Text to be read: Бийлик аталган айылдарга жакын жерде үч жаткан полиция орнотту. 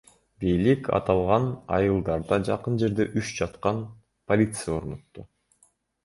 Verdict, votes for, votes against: rejected, 0, 2